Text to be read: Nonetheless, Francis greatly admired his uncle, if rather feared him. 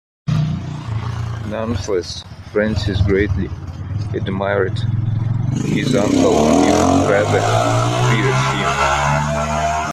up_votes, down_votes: 0, 2